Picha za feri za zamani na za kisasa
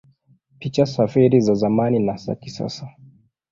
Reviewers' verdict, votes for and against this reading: accepted, 2, 1